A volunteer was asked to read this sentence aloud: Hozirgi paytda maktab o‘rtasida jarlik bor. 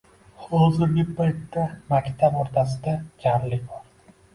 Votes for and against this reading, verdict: 0, 2, rejected